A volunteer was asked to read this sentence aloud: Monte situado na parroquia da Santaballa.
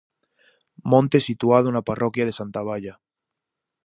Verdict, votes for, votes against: rejected, 0, 4